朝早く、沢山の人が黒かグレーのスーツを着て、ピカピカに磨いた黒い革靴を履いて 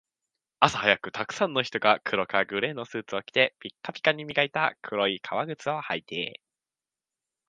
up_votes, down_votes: 2, 0